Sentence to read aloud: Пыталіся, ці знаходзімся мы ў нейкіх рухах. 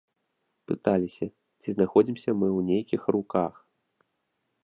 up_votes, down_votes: 1, 2